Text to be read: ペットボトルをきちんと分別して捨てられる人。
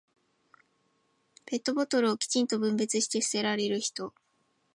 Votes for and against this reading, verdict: 4, 0, accepted